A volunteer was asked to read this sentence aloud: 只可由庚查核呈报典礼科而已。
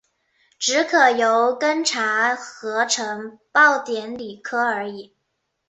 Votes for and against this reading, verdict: 2, 0, accepted